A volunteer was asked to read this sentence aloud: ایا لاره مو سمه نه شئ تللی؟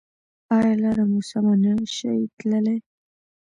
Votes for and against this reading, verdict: 2, 0, accepted